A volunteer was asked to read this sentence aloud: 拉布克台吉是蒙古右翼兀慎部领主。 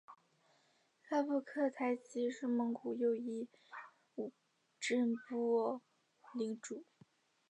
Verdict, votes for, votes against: rejected, 0, 2